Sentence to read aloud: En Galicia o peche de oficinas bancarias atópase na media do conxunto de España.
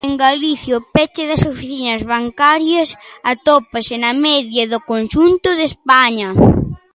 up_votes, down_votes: 0, 2